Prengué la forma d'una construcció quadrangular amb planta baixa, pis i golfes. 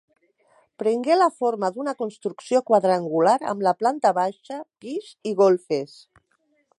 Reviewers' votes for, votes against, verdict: 1, 3, rejected